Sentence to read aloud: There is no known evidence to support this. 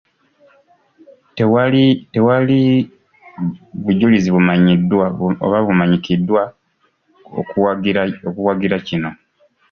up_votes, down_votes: 0, 2